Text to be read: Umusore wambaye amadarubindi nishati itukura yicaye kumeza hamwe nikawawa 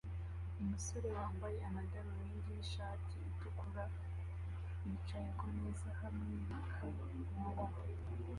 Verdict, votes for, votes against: rejected, 1, 2